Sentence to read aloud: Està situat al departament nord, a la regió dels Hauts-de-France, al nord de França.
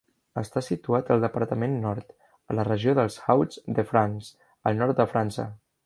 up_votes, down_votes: 0, 2